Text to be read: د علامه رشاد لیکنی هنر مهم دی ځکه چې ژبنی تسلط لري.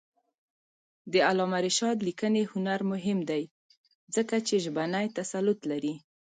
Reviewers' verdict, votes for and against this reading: rejected, 0, 2